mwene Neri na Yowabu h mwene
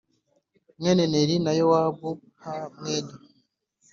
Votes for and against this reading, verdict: 3, 0, accepted